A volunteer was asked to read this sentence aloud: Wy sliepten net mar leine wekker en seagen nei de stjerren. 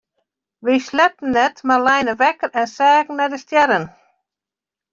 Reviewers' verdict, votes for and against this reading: rejected, 1, 2